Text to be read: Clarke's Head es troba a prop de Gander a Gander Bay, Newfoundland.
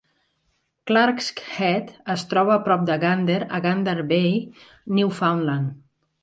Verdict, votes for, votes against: accepted, 3, 0